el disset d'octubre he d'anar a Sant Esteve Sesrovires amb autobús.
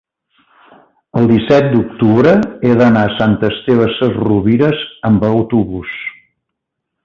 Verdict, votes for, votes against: accepted, 2, 0